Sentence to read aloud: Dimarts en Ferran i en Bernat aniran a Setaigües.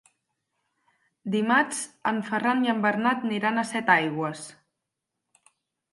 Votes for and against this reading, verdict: 4, 2, accepted